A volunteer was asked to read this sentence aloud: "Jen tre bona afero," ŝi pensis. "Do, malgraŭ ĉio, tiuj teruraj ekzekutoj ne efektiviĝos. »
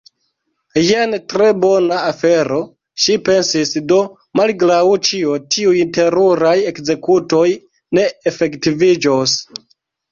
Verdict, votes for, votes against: rejected, 2, 3